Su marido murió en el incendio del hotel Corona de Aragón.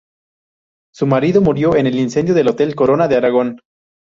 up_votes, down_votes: 2, 2